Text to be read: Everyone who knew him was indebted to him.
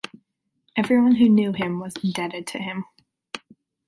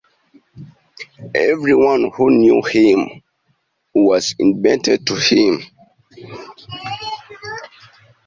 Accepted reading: first